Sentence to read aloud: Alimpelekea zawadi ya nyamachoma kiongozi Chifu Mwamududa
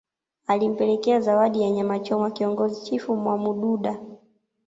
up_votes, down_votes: 0, 2